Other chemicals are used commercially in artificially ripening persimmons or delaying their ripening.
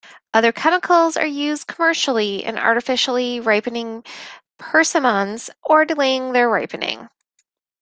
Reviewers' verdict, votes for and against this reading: accepted, 2, 1